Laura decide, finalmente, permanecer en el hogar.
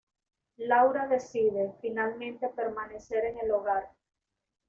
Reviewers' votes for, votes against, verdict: 2, 0, accepted